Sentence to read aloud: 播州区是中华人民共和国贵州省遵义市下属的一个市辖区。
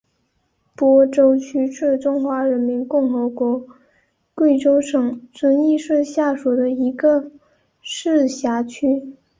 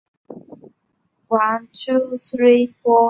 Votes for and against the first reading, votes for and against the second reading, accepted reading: 2, 0, 0, 3, first